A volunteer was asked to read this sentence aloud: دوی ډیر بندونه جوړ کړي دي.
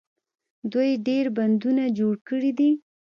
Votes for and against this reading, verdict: 0, 2, rejected